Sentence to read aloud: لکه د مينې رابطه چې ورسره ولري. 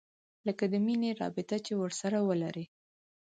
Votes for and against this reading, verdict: 4, 0, accepted